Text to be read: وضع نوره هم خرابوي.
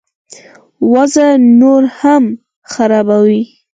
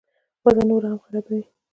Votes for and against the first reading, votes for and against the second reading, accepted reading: 0, 6, 2, 0, second